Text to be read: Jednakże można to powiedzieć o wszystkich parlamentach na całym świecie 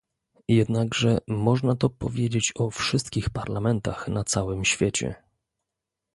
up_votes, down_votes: 2, 0